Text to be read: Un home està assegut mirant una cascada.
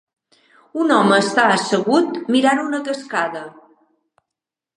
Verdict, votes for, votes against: accepted, 4, 0